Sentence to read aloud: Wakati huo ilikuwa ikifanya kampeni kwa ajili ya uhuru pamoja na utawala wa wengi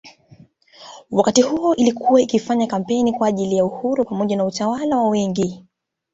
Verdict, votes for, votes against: rejected, 0, 2